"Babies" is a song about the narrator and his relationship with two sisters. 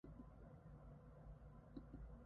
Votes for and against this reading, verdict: 0, 2, rejected